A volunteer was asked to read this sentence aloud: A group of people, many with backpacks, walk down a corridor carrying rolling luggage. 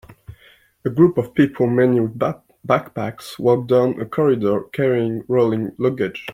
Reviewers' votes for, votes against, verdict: 2, 0, accepted